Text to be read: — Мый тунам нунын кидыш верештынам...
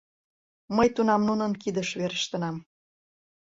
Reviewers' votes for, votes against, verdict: 2, 0, accepted